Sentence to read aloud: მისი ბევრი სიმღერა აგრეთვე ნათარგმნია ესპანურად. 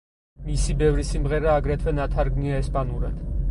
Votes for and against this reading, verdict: 4, 0, accepted